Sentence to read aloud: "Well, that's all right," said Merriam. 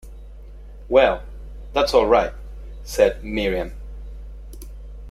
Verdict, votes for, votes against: accepted, 2, 0